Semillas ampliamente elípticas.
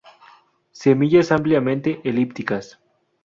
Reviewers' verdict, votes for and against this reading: rejected, 0, 2